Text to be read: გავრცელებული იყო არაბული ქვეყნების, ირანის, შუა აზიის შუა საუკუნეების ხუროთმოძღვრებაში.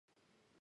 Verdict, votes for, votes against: rejected, 0, 2